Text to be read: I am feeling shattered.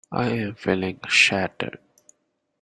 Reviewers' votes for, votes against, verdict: 1, 2, rejected